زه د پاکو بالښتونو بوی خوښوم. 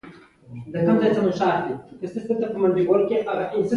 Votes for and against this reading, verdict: 0, 2, rejected